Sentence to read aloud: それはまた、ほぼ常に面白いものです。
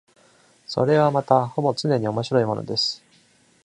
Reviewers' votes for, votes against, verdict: 2, 0, accepted